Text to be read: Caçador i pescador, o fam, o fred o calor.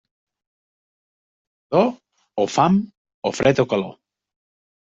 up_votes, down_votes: 0, 2